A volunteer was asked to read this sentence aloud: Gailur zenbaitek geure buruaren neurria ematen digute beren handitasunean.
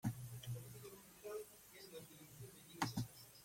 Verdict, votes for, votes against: rejected, 0, 2